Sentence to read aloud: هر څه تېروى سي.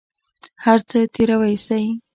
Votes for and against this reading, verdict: 2, 0, accepted